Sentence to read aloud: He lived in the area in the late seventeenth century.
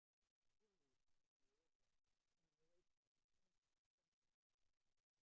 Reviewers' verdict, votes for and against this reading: rejected, 0, 2